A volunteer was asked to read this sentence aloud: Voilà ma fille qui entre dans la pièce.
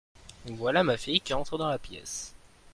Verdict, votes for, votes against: accepted, 2, 0